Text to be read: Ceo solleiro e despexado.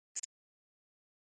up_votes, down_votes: 0, 2